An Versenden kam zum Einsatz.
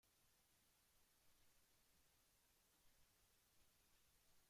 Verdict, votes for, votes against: rejected, 0, 2